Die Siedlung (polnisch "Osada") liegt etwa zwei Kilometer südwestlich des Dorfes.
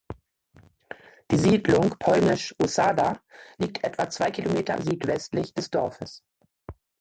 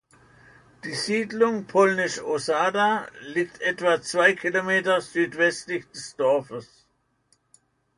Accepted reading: second